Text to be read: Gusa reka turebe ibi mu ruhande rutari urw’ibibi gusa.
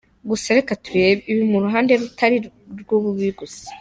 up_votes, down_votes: 0, 2